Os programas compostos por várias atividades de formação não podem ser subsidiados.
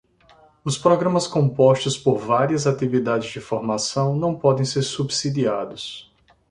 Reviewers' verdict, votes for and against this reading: accepted, 2, 0